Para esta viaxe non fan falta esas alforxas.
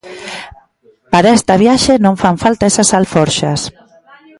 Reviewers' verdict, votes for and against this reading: rejected, 1, 2